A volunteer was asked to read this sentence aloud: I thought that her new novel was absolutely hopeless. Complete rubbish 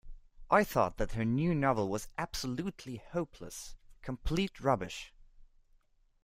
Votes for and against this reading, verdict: 2, 1, accepted